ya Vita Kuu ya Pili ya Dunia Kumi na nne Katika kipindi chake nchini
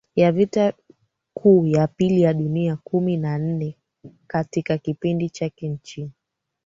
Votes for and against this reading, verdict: 2, 1, accepted